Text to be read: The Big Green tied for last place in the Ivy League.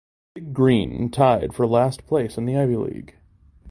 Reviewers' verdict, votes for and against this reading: accepted, 2, 0